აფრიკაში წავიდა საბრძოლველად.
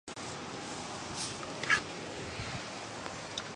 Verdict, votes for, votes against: rejected, 0, 2